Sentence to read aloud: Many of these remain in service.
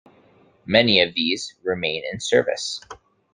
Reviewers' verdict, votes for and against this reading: accepted, 2, 0